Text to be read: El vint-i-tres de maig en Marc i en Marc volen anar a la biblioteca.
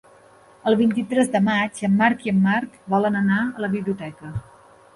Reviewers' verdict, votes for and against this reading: accepted, 2, 0